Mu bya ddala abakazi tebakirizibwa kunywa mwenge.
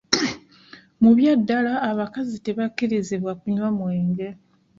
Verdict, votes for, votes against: accepted, 2, 1